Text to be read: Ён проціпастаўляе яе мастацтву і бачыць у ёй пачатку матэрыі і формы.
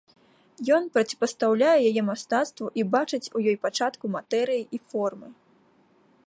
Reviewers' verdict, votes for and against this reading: accepted, 2, 0